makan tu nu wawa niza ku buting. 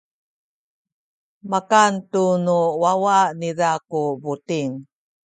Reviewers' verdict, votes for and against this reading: accepted, 2, 0